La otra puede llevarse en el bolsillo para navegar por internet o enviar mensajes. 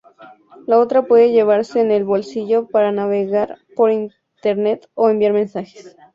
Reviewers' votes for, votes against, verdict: 2, 0, accepted